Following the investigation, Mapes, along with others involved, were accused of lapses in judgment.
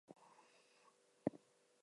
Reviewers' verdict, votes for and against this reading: rejected, 0, 2